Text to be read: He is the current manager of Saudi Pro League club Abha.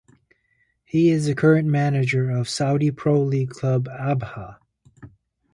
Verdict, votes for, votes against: accepted, 2, 0